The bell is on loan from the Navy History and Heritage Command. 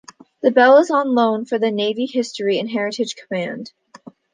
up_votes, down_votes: 2, 0